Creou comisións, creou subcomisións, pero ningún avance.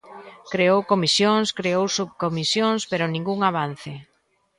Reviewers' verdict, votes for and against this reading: accepted, 2, 0